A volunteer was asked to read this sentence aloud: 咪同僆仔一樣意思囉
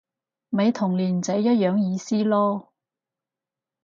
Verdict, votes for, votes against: rejected, 0, 4